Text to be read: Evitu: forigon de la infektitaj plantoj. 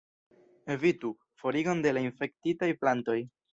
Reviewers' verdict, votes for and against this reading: rejected, 2, 3